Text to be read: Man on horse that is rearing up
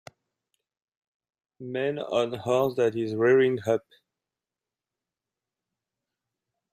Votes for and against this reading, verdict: 2, 0, accepted